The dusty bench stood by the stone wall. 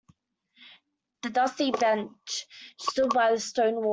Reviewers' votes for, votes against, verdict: 1, 2, rejected